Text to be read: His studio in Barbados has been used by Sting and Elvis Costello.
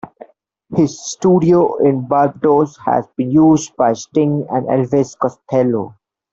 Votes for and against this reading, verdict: 0, 2, rejected